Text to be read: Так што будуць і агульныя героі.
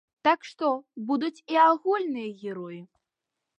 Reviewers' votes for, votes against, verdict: 2, 0, accepted